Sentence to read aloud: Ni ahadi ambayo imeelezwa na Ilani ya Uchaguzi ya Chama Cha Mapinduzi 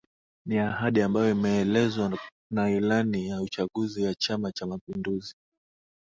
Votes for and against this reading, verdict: 1, 2, rejected